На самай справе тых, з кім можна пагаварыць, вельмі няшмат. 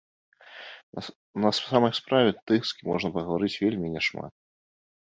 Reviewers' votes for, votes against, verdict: 0, 2, rejected